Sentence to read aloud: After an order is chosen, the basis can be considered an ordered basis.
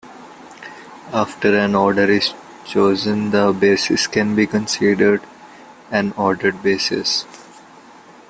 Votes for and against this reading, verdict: 2, 0, accepted